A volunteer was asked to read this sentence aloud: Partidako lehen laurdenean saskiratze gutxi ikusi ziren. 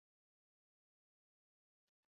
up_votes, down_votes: 0, 4